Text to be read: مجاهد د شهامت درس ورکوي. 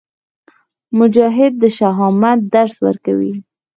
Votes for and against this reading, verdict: 4, 0, accepted